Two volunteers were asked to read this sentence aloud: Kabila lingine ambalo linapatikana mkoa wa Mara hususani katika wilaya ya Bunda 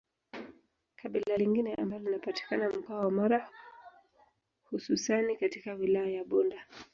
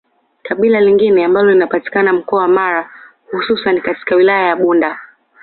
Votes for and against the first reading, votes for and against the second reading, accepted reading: 0, 2, 2, 0, second